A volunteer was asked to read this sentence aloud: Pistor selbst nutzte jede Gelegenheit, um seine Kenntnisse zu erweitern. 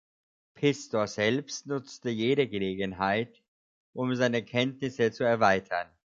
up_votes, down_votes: 2, 0